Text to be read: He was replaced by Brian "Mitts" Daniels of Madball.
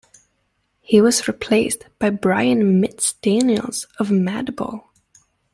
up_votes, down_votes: 2, 0